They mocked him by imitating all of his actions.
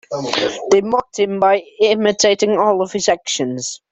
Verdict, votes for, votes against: rejected, 1, 2